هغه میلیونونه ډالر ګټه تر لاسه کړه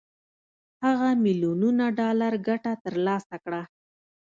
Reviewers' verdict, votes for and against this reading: rejected, 1, 2